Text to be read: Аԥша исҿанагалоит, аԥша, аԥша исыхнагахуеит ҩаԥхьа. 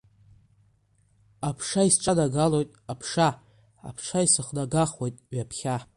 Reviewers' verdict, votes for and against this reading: rejected, 0, 2